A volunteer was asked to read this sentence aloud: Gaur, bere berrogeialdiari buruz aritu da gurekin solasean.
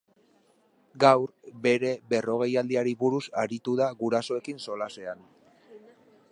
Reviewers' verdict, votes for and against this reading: rejected, 0, 2